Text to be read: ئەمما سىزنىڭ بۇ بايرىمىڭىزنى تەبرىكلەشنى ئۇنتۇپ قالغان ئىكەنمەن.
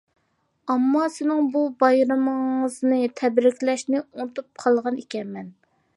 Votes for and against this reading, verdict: 1, 2, rejected